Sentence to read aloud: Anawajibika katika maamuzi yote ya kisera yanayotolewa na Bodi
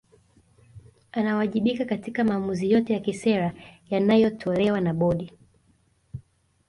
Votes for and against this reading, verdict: 2, 0, accepted